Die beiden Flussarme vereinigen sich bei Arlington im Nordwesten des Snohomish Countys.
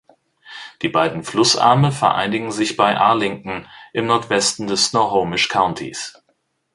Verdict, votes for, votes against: rejected, 0, 2